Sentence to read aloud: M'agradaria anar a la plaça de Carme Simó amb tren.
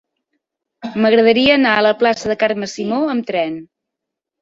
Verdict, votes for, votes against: accepted, 4, 0